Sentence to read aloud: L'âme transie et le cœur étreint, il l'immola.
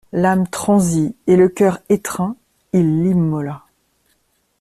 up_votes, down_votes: 2, 0